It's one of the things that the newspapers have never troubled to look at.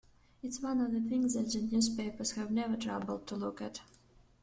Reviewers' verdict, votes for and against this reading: accepted, 2, 0